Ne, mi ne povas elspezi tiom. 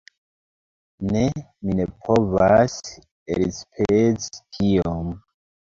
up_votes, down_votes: 2, 1